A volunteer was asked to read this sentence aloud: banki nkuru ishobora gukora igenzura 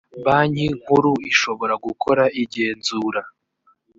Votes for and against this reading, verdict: 2, 0, accepted